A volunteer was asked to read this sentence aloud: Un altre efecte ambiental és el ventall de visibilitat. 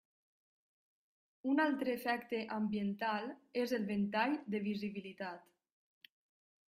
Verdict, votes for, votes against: rejected, 1, 2